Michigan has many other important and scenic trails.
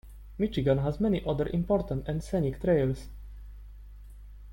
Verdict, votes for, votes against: accepted, 2, 0